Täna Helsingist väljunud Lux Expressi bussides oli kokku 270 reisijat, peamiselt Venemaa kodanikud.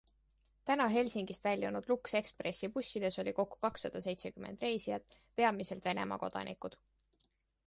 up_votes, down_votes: 0, 2